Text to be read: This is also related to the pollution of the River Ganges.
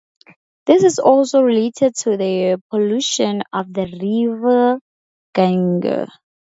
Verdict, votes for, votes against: accepted, 4, 0